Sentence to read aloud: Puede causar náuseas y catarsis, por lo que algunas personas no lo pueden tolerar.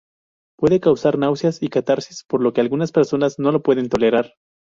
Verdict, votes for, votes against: accepted, 2, 0